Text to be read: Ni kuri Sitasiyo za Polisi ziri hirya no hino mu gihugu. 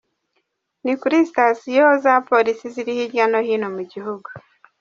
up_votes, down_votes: 0, 2